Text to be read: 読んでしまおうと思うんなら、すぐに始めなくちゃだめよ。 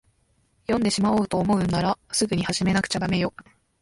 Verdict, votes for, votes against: accepted, 2, 1